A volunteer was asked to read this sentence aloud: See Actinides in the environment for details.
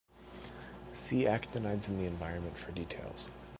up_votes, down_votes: 2, 0